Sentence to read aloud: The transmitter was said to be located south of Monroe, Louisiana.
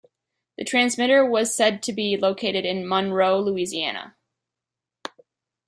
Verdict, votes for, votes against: rejected, 0, 3